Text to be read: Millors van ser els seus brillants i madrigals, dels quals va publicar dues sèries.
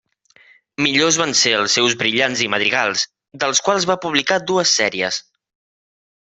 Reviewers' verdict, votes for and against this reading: rejected, 1, 2